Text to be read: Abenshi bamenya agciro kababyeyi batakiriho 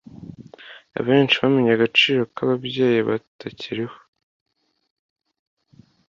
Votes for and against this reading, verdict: 2, 0, accepted